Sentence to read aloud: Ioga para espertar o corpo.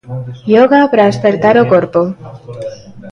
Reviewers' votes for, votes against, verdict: 1, 2, rejected